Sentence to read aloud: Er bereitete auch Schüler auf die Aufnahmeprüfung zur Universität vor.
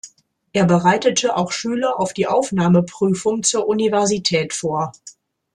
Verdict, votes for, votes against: accepted, 2, 0